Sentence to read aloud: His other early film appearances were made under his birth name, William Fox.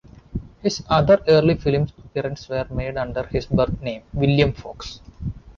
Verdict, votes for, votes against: rejected, 1, 2